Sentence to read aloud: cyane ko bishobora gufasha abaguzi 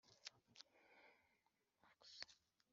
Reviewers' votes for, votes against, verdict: 0, 2, rejected